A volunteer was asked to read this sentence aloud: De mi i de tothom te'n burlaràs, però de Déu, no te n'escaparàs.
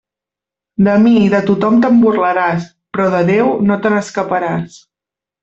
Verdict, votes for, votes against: accepted, 3, 0